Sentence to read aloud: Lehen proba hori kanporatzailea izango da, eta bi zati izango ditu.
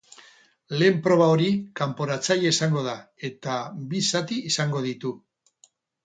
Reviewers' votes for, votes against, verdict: 2, 0, accepted